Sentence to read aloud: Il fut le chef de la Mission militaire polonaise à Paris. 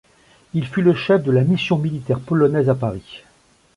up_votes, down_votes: 2, 0